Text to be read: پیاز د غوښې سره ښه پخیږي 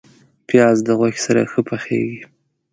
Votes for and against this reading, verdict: 2, 0, accepted